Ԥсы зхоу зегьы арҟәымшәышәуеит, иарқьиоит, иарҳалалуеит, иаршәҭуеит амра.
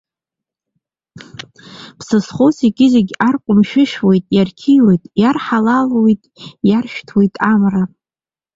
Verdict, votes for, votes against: rejected, 1, 2